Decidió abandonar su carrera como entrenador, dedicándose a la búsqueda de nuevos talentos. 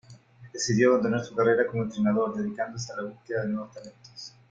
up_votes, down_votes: 2, 1